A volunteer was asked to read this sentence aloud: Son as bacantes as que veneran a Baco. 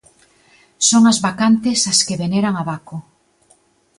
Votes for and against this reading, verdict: 2, 0, accepted